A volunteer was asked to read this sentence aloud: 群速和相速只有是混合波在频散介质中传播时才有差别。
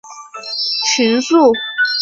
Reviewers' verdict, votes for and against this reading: rejected, 0, 2